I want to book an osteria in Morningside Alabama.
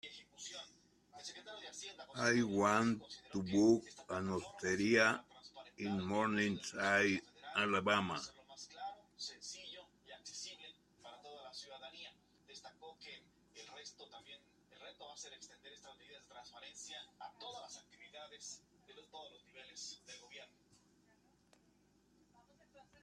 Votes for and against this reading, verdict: 1, 2, rejected